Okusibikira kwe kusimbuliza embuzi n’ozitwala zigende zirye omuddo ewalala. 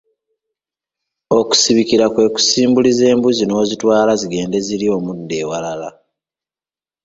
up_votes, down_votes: 2, 0